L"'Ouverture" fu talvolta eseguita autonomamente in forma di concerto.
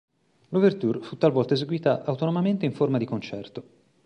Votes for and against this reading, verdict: 2, 0, accepted